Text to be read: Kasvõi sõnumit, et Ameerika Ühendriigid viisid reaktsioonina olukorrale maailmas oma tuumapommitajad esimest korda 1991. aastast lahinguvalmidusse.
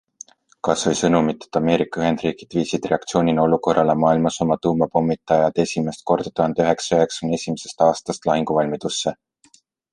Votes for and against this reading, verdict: 0, 2, rejected